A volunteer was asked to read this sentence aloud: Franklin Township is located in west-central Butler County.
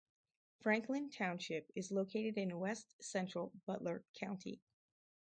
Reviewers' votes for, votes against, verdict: 2, 0, accepted